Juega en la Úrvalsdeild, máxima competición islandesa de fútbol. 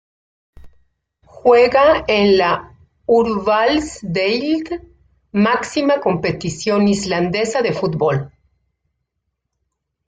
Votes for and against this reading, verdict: 1, 2, rejected